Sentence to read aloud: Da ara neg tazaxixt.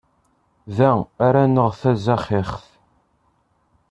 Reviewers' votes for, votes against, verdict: 1, 2, rejected